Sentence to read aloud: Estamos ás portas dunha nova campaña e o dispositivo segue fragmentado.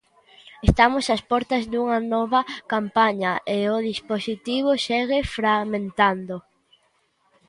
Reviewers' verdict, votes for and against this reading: rejected, 0, 2